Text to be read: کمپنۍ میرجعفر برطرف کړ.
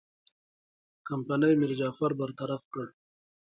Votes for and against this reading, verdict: 0, 2, rejected